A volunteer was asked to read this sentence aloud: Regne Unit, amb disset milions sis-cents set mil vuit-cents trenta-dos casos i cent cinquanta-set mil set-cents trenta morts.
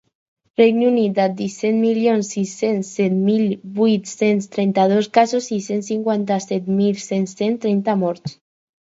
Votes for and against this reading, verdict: 4, 2, accepted